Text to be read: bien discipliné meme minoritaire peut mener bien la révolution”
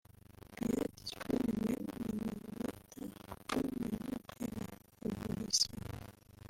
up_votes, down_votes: 1, 3